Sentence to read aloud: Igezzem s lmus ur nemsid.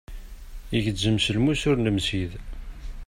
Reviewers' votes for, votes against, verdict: 2, 0, accepted